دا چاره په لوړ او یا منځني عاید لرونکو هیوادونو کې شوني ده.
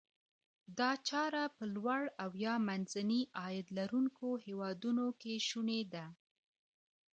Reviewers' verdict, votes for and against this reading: rejected, 0, 2